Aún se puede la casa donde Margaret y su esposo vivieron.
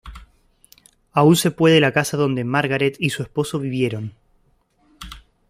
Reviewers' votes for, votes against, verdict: 0, 2, rejected